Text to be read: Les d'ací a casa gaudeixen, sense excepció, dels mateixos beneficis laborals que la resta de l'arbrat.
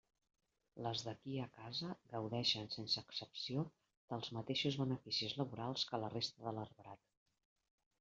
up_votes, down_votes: 0, 2